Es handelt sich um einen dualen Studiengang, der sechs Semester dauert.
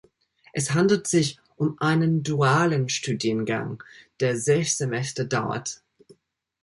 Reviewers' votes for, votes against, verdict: 0, 2, rejected